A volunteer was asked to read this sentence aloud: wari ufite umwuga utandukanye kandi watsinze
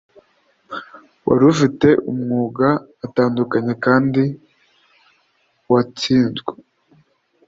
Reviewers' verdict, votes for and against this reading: rejected, 1, 2